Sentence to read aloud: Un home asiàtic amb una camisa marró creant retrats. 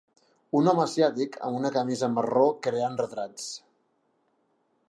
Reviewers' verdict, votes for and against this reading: accepted, 2, 0